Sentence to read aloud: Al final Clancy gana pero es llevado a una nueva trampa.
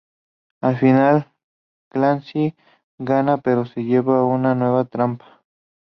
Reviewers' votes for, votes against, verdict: 0, 2, rejected